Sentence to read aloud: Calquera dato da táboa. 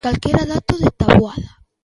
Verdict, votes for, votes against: rejected, 0, 2